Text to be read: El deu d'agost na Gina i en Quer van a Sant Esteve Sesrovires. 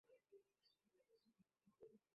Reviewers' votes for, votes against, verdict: 1, 2, rejected